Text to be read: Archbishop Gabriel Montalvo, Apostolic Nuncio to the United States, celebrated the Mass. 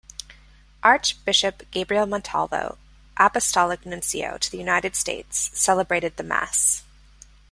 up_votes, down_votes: 2, 0